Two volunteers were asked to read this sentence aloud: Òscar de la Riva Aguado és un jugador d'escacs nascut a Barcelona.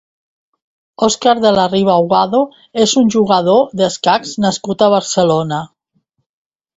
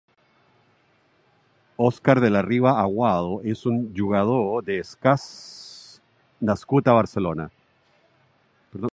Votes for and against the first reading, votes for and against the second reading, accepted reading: 2, 0, 1, 2, first